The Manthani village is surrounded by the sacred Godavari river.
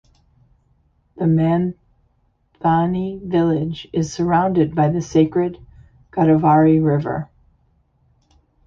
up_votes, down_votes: 0, 2